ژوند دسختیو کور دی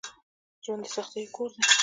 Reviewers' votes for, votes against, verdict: 2, 0, accepted